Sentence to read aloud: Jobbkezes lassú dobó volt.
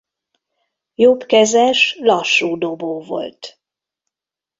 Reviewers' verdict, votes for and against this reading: accepted, 2, 1